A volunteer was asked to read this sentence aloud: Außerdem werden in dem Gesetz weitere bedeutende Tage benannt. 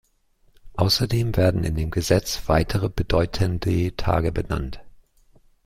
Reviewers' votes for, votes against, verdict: 0, 2, rejected